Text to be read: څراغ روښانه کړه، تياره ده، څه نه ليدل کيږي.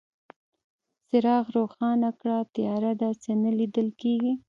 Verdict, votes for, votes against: rejected, 0, 2